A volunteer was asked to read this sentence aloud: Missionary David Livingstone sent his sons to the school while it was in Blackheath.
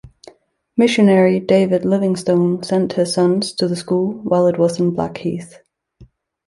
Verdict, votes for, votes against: accepted, 2, 0